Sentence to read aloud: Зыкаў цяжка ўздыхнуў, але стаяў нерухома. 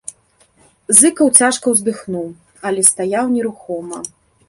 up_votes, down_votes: 2, 0